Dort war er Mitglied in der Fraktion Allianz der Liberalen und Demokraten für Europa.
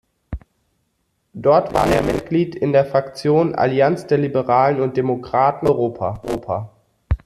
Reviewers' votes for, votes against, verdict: 0, 2, rejected